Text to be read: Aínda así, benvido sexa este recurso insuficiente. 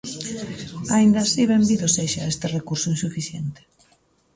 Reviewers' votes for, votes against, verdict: 2, 0, accepted